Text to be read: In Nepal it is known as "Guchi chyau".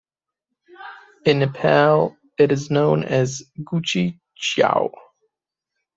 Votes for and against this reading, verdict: 2, 1, accepted